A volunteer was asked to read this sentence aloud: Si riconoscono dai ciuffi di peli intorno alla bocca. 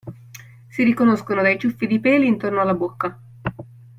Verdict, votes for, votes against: accepted, 2, 0